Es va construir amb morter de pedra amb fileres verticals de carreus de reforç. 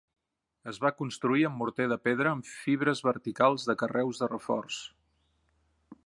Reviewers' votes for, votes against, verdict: 1, 3, rejected